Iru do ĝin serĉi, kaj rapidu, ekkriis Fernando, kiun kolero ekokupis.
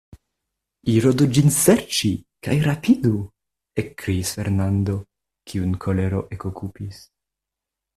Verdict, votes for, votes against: accepted, 2, 0